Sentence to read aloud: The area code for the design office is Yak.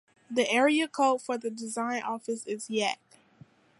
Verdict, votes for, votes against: accepted, 2, 0